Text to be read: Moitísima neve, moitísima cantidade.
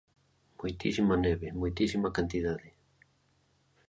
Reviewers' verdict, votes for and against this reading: accepted, 2, 0